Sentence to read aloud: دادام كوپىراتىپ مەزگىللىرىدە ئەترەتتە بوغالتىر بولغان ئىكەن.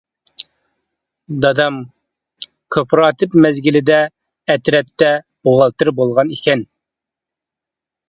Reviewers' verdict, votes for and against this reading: rejected, 1, 2